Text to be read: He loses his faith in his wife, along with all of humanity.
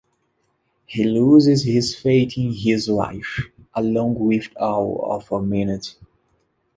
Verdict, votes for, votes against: rejected, 0, 2